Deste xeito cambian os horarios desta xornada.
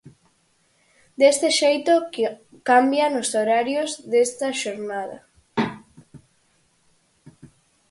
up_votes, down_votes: 0, 4